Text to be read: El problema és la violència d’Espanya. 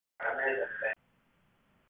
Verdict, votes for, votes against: rejected, 0, 2